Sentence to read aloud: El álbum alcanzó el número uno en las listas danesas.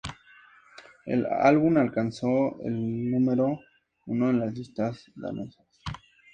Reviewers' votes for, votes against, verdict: 2, 0, accepted